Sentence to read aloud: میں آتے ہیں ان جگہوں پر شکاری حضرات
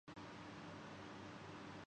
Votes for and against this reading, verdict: 0, 11, rejected